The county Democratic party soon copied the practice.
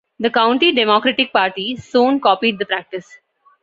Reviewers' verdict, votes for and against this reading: accepted, 2, 0